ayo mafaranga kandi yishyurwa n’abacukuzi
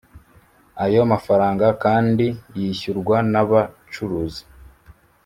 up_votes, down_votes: 1, 2